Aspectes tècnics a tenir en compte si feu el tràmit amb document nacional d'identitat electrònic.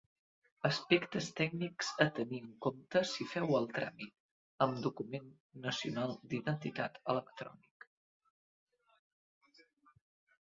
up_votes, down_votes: 2, 0